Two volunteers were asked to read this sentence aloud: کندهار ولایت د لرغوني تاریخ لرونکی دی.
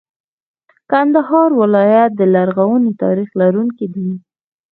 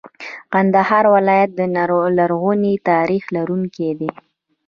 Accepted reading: first